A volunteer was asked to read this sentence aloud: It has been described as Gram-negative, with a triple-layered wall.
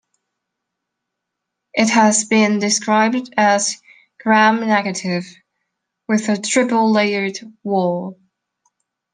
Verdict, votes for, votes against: rejected, 1, 2